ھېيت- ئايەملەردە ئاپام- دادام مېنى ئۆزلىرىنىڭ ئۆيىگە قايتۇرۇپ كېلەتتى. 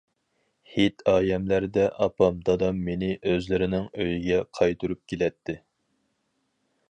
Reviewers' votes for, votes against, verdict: 4, 0, accepted